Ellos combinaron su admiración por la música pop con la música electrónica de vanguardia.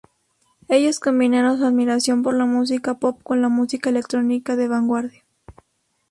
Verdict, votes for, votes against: accepted, 2, 0